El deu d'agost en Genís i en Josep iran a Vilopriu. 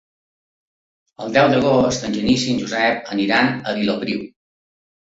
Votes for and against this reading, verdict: 1, 2, rejected